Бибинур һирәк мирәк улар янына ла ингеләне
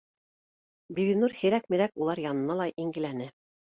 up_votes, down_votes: 2, 0